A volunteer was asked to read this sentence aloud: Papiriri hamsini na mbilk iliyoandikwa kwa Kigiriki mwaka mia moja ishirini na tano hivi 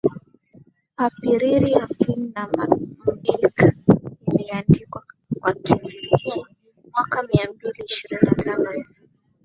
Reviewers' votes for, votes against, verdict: 4, 8, rejected